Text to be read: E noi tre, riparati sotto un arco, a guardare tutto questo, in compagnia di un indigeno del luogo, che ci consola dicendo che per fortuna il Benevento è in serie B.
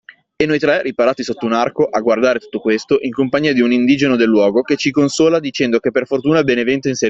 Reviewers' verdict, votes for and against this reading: rejected, 0, 2